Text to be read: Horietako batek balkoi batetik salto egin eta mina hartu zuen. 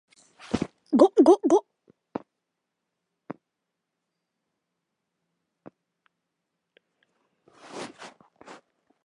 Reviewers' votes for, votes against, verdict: 0, 3, rejected